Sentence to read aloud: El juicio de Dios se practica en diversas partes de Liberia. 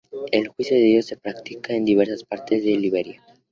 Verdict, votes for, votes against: accepted, 2, 0